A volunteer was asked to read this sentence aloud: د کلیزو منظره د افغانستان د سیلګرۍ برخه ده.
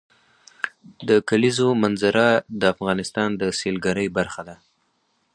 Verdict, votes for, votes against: accepted, 4, 0